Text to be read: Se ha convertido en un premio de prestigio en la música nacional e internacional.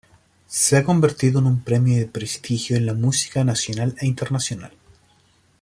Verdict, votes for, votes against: accepted, 2, 0